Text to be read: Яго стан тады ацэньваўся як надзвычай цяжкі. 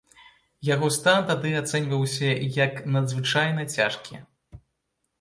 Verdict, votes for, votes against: rejected, 0, 2